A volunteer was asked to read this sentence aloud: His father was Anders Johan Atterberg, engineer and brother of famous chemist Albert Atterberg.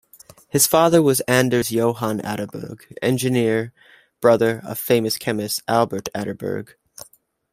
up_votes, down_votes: 1, 2